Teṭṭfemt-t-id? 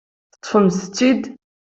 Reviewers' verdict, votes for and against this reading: accepted, 2, 0